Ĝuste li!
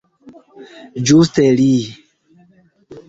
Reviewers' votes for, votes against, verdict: 0, 2, rejected